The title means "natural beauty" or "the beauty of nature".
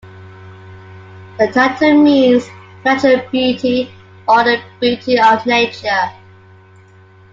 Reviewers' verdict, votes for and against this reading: accepted, 2, 1